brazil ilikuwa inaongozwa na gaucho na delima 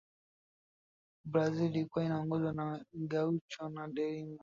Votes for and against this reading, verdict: 2, 0, accepted